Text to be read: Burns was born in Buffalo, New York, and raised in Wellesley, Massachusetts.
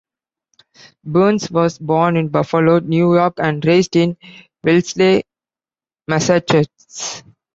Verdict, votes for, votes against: rejected, 1, 2